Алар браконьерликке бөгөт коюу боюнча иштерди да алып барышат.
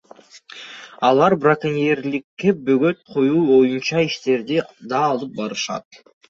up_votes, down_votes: 1, 2